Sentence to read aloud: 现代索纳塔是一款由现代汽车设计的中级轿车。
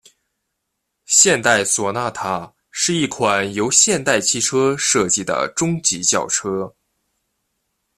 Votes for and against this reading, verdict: 2, 0, accepted